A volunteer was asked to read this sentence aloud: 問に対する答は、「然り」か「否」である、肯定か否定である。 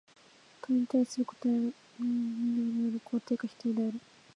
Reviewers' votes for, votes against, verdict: 5, 6, rejected